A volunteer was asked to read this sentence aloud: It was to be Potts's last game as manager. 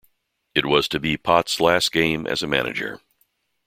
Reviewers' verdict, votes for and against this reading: rejected, 0, 2